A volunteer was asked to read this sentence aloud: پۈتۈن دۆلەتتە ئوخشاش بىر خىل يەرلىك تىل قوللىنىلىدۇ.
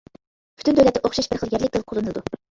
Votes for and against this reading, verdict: 0, 2, rejected